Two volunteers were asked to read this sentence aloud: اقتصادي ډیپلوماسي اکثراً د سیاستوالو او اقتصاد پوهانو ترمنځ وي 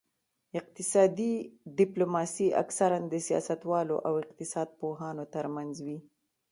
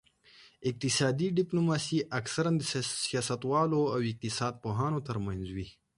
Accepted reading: second